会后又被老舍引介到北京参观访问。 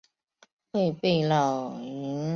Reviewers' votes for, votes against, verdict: 0, 2, rejected